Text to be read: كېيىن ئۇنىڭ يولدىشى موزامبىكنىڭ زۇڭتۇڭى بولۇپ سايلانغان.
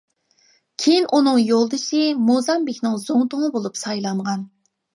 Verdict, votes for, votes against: accepted, 2, 0